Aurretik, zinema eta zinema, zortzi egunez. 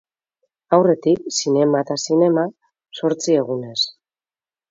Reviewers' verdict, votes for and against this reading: accepted, 2, 0